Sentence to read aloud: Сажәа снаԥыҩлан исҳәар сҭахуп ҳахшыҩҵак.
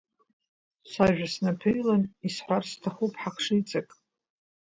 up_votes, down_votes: 1, 2